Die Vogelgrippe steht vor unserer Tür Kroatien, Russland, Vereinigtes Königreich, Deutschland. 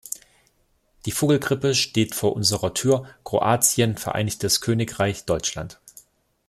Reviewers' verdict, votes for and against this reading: rejected, 0, 2